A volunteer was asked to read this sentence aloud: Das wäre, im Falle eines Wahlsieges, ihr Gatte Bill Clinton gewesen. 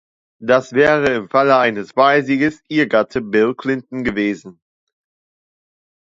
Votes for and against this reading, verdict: 2, 0, accepted